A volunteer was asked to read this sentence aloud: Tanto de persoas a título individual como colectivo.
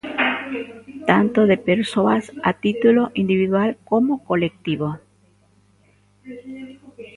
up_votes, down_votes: 3, 0